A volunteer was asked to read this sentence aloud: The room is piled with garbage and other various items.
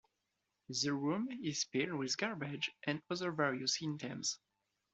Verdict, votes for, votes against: rejected, 0, 2